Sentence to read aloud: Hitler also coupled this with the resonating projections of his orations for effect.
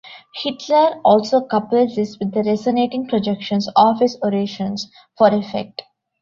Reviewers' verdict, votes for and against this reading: accepted, 2, 0